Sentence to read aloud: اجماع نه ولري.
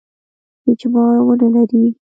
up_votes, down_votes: 2, 1